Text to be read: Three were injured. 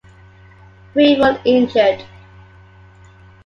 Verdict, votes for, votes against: accepted, 2, 0